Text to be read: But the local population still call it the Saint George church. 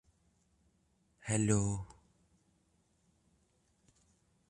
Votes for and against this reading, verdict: 0, 2, rejected